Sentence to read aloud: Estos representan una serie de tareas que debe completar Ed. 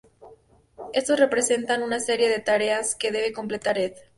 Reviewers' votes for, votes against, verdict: 2, 0, accepted